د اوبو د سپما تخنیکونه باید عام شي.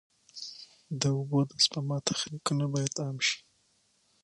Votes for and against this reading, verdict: 6, 0, accepted